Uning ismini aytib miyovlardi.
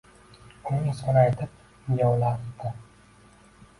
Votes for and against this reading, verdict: 0, 2, rejected